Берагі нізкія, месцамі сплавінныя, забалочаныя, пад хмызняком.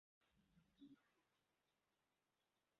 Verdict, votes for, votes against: rejected, 0, 2